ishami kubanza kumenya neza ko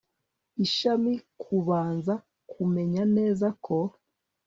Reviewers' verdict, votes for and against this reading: rejected, 1, 2